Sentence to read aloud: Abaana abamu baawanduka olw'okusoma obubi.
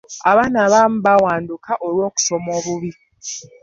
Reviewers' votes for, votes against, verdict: 2, 0, accepted